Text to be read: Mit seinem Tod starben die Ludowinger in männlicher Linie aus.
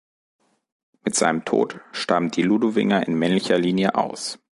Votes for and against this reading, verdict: 2, 1, accepted